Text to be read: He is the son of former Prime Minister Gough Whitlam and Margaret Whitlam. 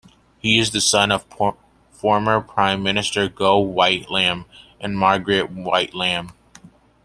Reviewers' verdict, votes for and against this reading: rejected, 0, 2